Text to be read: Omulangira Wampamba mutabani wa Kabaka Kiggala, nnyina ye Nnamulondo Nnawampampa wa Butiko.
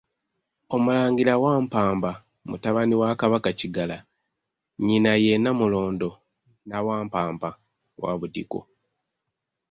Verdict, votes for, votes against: rejected, 0, 2